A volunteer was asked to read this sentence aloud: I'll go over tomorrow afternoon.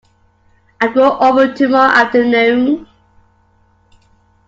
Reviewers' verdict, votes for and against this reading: rejected, 0, 2